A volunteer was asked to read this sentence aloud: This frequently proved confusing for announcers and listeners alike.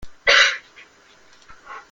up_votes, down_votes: 0, 2